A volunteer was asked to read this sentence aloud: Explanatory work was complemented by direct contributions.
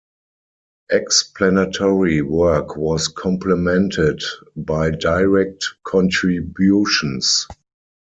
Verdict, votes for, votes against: accepted, 4, 0